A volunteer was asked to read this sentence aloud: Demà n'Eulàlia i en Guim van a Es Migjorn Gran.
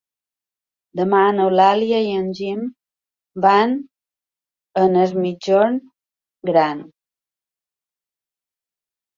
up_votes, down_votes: 1, 2